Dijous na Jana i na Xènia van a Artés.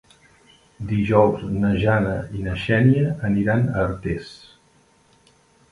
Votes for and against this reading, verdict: 0, 2, rejected